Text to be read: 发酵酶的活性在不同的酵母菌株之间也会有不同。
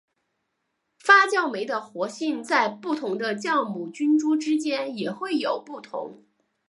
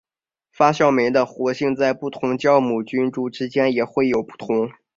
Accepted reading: second